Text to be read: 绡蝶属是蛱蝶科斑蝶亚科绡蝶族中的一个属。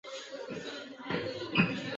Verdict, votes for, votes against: rejected, 0, 2